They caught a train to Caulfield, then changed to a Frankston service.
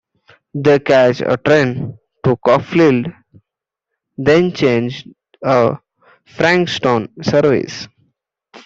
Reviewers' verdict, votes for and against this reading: rejected, 0, 2